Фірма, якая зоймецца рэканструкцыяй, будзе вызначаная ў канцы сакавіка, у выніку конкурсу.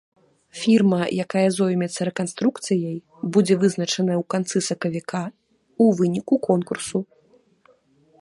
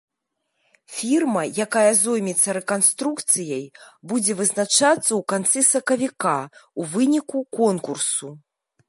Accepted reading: first